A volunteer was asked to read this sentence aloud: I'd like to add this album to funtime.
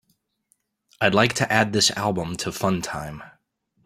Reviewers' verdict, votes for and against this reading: accepted, 2, 0